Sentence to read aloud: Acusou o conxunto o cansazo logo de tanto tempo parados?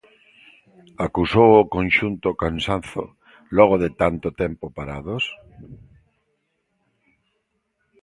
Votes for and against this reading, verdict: 1, 2, rejected